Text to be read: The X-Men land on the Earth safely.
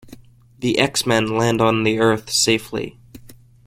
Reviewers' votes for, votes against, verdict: 2, 0, accepted